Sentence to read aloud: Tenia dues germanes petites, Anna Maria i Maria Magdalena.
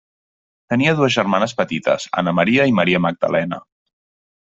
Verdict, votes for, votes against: accepted, 3, 0